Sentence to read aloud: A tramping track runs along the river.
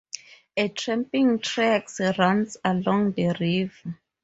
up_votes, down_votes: 2, 4